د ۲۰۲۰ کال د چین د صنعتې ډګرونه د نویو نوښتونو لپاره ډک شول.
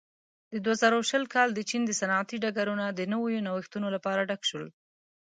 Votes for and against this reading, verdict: 0, 2, rejected